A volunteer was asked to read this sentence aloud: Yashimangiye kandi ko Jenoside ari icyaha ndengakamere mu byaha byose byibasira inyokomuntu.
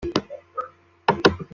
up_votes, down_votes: 0, 2